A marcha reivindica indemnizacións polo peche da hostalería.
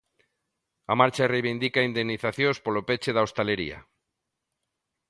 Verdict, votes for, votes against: accepted, 2, 0